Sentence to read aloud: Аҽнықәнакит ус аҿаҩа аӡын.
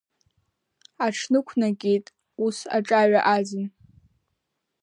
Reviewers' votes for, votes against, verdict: 2, 0, accepted